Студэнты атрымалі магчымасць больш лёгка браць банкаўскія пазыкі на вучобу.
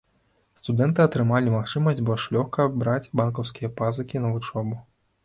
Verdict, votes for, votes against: rejected, 1, 2